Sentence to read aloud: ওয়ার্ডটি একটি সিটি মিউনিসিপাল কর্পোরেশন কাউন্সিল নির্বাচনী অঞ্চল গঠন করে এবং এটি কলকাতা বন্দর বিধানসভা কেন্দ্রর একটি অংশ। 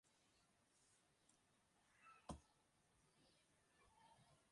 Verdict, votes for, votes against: rejected, 0, 2